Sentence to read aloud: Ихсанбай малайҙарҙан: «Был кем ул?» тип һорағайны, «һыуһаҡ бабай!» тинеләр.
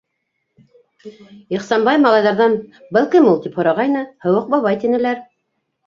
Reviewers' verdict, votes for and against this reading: rejected, 0, 2